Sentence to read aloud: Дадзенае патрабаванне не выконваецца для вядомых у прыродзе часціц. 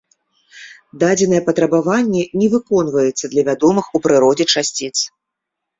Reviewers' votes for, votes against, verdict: 2, 0, accepted